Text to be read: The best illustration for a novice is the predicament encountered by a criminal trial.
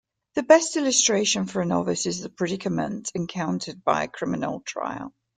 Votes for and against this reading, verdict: 2, 0, accepted